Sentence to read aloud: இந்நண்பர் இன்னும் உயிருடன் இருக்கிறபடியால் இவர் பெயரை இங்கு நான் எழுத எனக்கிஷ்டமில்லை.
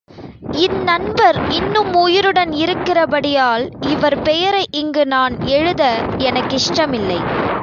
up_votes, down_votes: 3, 0